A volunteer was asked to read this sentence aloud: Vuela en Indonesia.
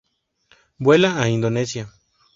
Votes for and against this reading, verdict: 0, 2, rejected